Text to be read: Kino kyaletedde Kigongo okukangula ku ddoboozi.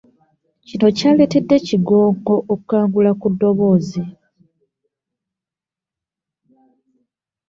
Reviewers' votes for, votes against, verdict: 1, 2, rejected